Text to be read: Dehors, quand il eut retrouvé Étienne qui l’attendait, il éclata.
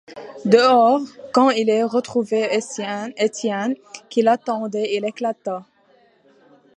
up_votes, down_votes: 1, 2